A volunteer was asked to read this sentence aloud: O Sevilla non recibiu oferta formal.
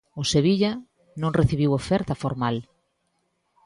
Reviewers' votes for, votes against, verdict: 2, 0, accepted